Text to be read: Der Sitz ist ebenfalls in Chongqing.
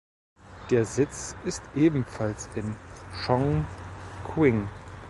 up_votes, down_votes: 0, 2